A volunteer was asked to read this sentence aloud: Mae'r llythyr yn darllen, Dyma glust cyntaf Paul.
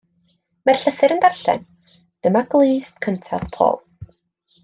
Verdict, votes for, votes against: accepted, 2, 0